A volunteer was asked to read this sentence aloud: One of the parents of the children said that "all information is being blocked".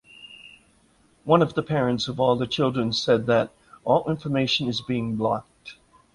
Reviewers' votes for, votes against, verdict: 0, 2, rejected